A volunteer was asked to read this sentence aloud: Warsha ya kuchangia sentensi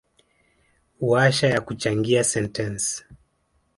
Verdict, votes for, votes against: rejected, 0, 3